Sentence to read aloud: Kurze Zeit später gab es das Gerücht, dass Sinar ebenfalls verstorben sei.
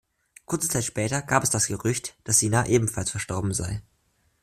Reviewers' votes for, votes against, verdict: 2, 1, accepted